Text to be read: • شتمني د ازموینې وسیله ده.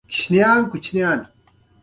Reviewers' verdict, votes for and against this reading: accepted, 2, 0